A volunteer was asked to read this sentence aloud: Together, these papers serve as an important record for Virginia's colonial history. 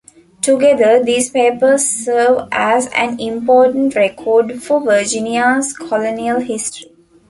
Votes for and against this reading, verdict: 0, 2, rejected